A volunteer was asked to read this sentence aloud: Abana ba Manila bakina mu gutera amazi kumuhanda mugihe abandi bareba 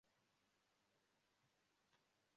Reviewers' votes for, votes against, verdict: 0, 3, rejected